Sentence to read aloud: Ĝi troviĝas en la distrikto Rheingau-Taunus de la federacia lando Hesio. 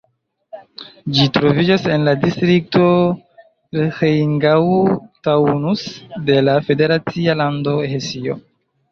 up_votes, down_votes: 0, 2